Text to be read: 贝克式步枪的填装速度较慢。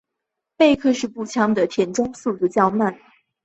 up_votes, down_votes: 1, 3